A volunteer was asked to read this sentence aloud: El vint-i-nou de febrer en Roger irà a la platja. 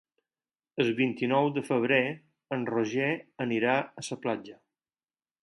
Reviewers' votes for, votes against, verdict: 0, 4, rejected